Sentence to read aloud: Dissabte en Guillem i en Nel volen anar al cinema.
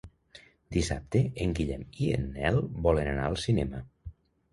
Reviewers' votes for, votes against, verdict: 2, 0, accepted